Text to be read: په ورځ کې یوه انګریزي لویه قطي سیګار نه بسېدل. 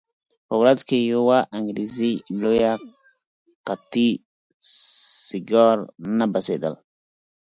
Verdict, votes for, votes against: accepted, 4, 2